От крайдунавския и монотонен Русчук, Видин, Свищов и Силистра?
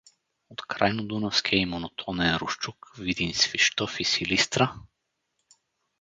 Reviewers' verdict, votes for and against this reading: rejected, 0, 4